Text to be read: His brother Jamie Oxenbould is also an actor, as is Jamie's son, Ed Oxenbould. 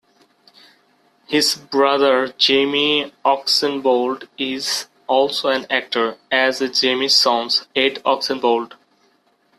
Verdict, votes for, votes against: accepted, 2, 0